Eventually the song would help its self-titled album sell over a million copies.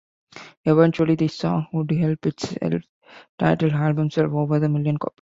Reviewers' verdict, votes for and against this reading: rejected, 1, 2